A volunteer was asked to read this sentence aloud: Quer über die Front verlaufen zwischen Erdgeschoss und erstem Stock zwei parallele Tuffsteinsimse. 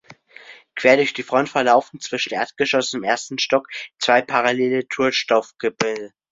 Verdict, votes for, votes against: rejected, 1, 2